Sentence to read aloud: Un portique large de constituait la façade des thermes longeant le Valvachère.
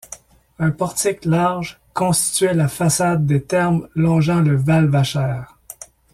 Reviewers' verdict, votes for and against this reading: rejected, 1, 2